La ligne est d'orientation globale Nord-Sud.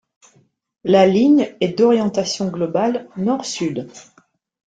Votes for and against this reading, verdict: 2, 0, accepted